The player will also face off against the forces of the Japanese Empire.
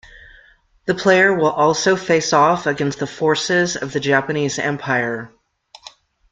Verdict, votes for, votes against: accepted, 2, 0